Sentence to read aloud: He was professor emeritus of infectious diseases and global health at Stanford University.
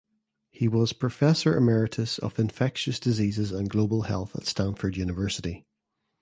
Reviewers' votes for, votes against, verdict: 2, 0, accepted